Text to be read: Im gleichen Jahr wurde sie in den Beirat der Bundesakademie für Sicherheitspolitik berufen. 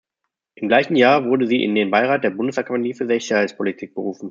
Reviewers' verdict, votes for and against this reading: rejected, 1, 2